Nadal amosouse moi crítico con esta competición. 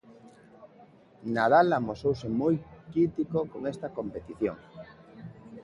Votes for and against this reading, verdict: 3, 1, accepted